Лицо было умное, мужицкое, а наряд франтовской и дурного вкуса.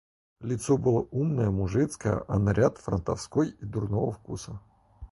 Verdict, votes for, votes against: accepted, 4, 0